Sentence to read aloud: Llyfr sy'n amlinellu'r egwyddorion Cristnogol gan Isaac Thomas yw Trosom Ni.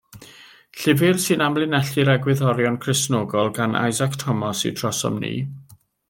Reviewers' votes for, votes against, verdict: 2, 0, accepted